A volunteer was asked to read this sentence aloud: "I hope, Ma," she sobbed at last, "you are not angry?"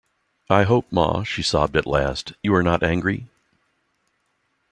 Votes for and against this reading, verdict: 2, 0, accepted